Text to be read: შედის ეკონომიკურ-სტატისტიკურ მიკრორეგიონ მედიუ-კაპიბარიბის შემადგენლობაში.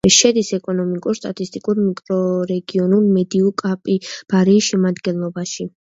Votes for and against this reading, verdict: 1, 2, rejected